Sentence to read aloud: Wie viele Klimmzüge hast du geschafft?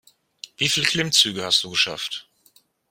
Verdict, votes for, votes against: rejected, 0, 2